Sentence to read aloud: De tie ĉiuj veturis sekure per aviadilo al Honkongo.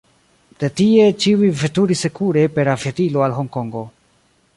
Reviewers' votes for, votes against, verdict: 2, 0, accepted